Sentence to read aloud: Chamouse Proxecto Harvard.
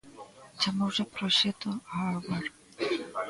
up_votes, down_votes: 0, 2